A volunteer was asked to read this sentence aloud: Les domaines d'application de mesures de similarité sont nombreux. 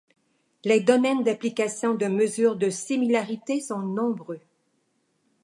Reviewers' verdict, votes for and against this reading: accepted, 2, 0